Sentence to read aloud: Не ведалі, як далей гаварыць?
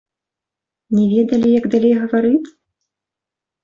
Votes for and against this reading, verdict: 0, 2, rejected